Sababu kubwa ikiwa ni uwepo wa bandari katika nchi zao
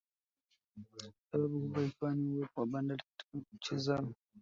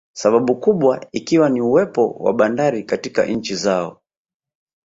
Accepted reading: second